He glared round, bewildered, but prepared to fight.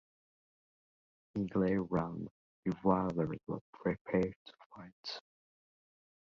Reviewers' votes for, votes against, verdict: 2, 0, accepted